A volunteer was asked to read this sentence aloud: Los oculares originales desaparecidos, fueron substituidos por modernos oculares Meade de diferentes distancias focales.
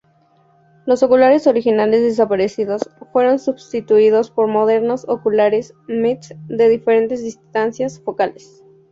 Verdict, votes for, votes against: rejected, 0, 2